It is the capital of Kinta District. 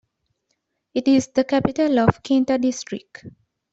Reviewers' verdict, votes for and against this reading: accepted, 2, 1